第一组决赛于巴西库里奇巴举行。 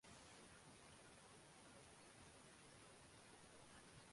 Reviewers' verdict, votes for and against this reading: rejected, 2, 5